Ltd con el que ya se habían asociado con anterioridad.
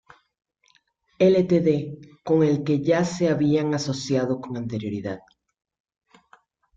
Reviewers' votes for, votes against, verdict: 1, 2, rejected